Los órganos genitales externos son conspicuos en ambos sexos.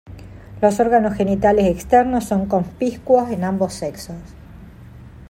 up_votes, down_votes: 2, 0